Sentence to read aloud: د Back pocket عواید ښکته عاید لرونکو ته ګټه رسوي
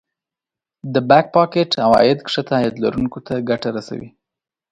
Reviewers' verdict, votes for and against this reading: accepted, 2, 1